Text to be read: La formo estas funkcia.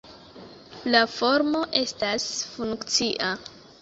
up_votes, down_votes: 2, 0